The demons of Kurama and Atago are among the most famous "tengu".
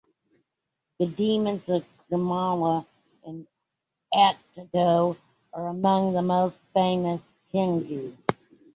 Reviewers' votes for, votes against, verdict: 3, 1, accepted